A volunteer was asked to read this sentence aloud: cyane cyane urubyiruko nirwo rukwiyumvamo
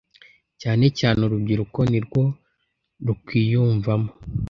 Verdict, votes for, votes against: accepted, 2, 0